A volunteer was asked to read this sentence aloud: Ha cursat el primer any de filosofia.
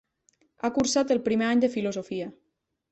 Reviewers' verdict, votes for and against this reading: accepted, 3, 0